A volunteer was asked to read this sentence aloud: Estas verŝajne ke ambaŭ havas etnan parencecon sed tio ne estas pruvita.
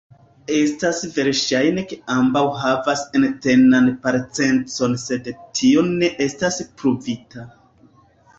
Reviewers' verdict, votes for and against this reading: rejected, 1, 2